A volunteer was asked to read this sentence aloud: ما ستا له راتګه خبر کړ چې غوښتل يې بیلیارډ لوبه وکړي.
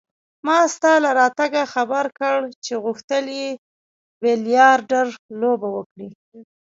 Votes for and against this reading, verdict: 1, 2, rejected